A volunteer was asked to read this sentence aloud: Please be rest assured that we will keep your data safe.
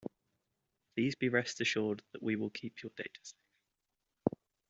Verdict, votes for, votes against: rejected, 1, 2